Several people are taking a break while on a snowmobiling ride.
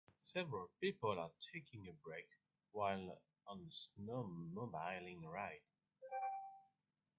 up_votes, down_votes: 2, 0